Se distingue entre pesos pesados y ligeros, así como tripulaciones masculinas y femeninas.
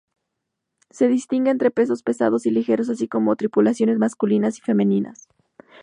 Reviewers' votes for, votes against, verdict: 2, 0, accepted